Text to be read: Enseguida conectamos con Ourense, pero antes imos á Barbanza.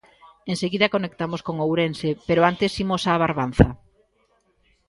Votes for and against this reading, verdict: 2, 0, accepted